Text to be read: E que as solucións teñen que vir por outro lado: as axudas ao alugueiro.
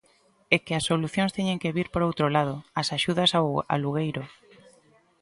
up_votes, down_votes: 1, 2